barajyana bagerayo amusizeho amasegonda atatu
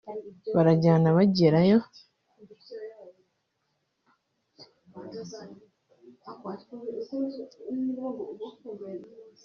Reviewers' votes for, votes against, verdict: 0, 2, rejected